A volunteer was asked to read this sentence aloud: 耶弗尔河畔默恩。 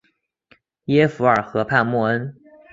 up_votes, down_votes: 2, 0